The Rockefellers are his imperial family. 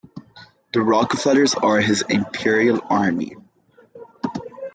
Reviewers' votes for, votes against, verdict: 1, 2, rejected